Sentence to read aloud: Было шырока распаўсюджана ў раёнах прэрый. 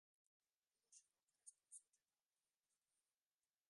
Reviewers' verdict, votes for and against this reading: rejected, 0, 2